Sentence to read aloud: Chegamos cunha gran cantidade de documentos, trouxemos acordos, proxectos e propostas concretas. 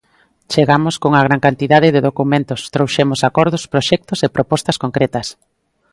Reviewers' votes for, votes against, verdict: 2, 0, accepted